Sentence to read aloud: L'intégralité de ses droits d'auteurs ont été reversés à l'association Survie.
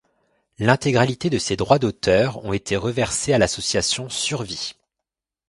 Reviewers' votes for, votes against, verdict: 2, 0, accepted